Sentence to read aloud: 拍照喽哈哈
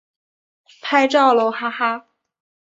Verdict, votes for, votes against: accepted, 2, 0